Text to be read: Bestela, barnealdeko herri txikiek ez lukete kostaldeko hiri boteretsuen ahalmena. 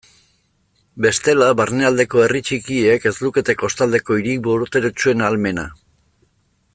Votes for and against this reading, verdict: 0, 2, rejected